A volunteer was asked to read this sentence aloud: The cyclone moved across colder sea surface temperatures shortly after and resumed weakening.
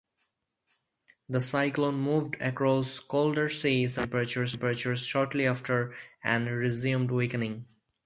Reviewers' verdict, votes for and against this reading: rejected, 0, 4